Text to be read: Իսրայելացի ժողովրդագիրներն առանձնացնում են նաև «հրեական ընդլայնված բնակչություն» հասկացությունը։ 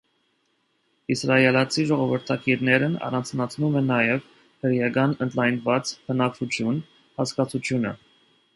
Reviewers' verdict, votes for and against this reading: accepted, 2, 0